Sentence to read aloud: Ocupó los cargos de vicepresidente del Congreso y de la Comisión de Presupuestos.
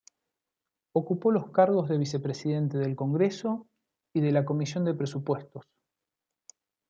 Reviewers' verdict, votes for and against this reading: accepted, 2, 0